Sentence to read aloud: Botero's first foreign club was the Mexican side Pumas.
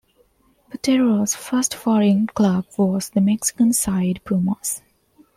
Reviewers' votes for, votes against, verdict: 2, 0, accepted